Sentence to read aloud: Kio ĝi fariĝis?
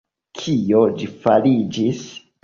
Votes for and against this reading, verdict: 2, 1, accepted